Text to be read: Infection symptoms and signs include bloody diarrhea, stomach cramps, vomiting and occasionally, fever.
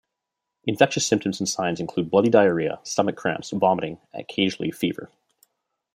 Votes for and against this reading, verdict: 1, 2, rejected